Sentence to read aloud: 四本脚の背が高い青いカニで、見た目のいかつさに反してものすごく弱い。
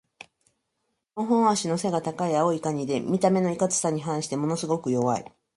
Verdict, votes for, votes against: rejected, 0, 2